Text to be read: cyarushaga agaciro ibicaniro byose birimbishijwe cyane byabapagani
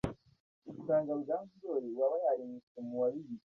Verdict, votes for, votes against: rejected, 0, 2